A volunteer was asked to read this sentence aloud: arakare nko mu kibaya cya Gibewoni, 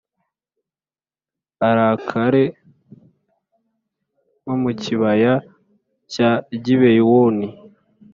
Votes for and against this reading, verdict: 3, 0, accepted